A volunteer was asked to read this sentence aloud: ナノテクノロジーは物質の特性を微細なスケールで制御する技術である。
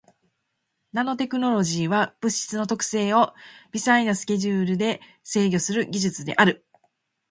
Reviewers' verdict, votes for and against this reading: rejected, 1, 2